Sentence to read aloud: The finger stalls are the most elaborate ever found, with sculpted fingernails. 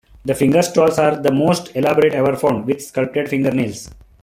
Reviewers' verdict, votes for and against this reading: rejected, 1, 2